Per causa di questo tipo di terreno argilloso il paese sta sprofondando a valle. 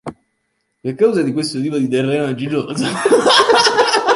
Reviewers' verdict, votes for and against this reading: rejected, 1, 2